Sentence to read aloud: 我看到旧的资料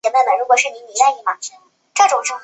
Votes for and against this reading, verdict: 1, 2, rejected